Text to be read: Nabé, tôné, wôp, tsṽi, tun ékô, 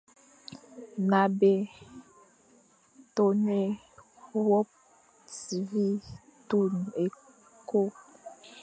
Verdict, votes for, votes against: rejected, 1, 2